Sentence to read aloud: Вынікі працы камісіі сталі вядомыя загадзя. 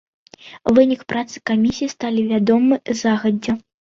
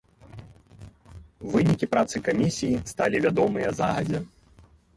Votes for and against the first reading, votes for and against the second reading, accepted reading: 1, 2, 3, 0, second